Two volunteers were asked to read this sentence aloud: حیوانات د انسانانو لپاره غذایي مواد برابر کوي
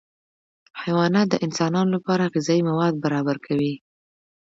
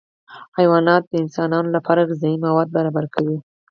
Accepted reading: first